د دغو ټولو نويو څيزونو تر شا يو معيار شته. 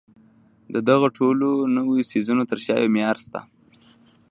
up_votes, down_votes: 2, 0